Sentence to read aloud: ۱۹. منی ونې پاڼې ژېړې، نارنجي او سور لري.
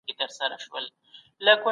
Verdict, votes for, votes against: rejected, 0, 2